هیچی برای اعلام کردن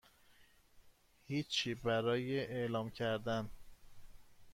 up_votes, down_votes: 2, 0